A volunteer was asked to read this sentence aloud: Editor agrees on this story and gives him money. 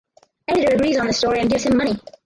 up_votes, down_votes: 2, 2